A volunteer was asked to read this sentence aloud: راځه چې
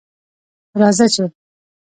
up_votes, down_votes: 1, 2